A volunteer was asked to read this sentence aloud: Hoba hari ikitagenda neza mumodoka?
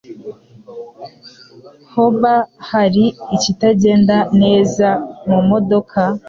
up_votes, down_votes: 2, 0